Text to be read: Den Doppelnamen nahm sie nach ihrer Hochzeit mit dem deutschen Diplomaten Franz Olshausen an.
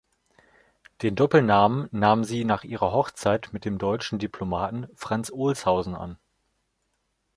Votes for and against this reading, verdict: 2, 0, accepted